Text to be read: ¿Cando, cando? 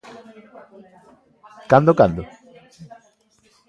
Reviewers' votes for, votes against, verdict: 1, 2, rejected